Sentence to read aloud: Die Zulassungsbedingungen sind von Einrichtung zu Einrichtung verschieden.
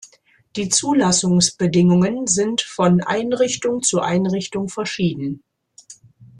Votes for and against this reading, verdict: 2, 0, accepted